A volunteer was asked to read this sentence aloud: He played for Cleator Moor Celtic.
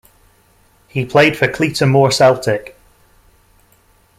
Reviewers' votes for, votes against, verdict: 2, 0, accepted